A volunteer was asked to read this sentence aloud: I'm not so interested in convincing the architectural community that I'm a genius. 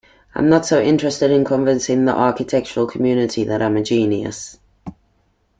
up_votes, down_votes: 2, 0